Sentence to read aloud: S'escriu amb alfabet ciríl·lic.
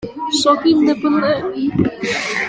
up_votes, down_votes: 0, 2